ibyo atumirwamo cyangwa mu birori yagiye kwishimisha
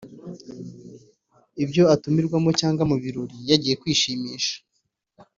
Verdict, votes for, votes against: accepted, 2, 1